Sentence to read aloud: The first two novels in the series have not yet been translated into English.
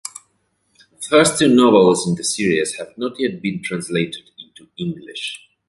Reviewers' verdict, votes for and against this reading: rejected, 1, 2